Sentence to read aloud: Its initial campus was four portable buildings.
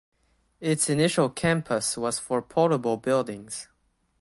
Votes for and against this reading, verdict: 1, 2, rejected